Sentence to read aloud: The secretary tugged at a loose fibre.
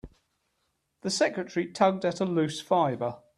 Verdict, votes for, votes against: accepted, 3, 0